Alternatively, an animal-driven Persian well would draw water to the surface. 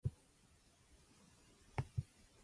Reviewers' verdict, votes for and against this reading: rejected, 0, 2